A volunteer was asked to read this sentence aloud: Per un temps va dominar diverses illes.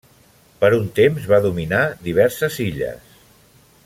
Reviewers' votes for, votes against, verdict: 1, 2, rejected